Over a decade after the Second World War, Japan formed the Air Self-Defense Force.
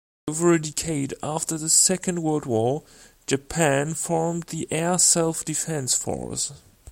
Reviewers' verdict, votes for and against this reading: rejected, 0, 2